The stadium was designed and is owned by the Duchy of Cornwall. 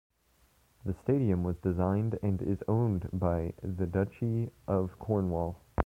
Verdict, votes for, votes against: rejected, 1, 2